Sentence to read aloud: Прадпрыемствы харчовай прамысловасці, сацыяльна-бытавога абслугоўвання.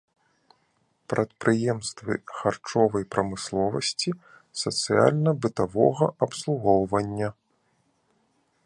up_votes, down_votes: 2, 0